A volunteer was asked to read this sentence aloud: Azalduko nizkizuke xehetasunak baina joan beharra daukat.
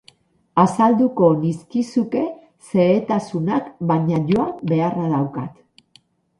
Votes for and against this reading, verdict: 0, 2, rejected